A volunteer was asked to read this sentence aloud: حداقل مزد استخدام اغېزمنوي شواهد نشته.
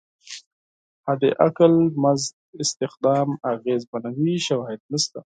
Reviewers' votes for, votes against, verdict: 4, 0, accepted